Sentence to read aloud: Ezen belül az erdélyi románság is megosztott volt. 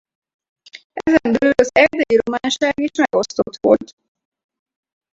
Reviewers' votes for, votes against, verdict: 0, 4, rejected